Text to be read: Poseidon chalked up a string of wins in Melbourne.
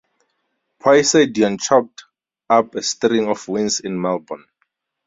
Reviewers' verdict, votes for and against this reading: rejected, 2, 2